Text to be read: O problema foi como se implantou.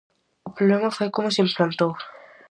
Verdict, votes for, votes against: rejected, 2, 2